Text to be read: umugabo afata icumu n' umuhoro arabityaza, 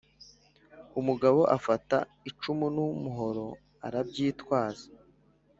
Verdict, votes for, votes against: rejected, 1, 2